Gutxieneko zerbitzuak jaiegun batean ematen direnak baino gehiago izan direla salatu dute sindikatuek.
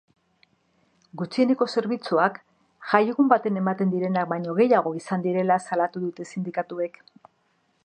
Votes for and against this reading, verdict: 0, 2, rejected